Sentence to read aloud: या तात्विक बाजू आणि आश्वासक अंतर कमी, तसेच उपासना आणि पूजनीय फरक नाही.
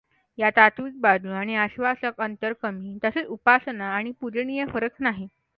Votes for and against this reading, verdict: 2, 0, accepted